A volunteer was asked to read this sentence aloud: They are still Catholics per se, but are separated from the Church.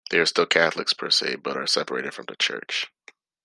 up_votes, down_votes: 2, 0